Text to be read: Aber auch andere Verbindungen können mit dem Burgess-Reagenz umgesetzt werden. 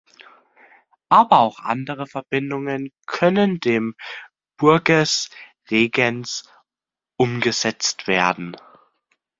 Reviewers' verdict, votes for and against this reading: rejected, 0, 2